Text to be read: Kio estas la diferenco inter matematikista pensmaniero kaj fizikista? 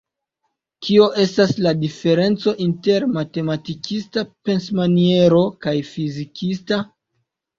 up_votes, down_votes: 2, 1